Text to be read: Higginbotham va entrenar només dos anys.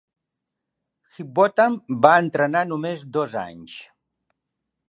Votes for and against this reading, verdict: 0, 2, rejected